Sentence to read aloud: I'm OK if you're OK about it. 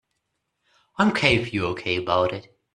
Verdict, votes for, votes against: rejected, 1, 2